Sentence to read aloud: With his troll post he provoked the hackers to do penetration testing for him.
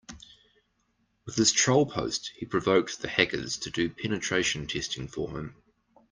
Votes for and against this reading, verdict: 2, 0, accepted